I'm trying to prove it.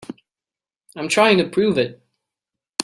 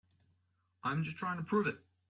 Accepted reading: first